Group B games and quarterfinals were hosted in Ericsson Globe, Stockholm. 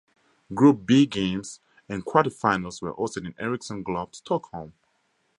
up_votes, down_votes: 2, 0